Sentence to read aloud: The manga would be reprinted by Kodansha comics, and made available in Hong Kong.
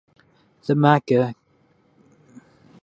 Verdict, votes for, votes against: rejected, 0, 2